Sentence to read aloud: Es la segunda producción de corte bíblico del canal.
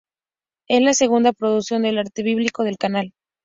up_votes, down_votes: 2, 2